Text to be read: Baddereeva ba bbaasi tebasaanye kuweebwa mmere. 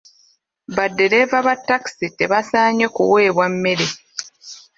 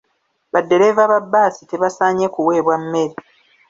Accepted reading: second